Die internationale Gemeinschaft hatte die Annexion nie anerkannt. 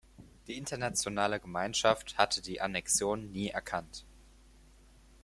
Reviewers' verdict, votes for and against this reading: rejected, 0, 4